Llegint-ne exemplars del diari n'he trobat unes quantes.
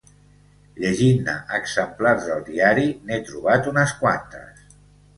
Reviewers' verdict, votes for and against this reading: accepted, 2, 0